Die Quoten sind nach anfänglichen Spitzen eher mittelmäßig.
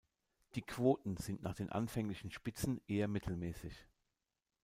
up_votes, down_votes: 0, 2